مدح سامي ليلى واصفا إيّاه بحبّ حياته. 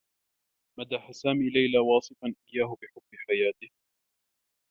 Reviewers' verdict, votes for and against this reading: rejected, 0, 2